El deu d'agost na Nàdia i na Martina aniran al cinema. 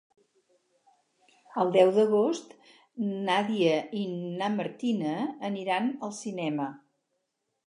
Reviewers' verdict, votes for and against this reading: rejected, 2, 4